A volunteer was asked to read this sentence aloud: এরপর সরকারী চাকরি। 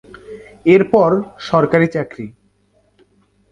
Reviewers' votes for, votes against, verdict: 3, 0, accepted